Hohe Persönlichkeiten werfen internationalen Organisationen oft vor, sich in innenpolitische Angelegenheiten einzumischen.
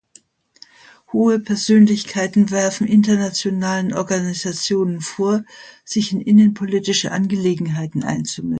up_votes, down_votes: 0, 2